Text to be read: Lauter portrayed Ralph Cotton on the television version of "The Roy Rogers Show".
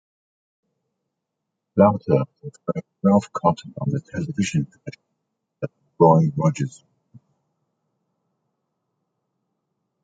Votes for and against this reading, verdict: 0, 2, rejected